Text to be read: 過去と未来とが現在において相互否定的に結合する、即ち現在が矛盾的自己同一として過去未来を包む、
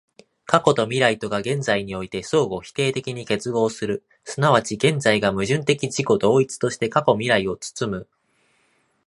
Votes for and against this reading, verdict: 2, 0, accepted